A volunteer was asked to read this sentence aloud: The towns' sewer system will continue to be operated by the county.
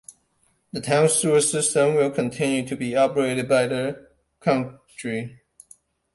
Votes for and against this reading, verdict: 0, 2, rejected